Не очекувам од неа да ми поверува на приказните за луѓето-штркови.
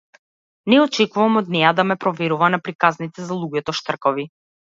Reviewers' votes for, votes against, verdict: 0, 2, rejected